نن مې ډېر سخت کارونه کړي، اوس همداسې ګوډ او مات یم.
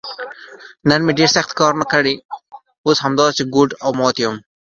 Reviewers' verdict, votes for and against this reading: accepted, 2, 1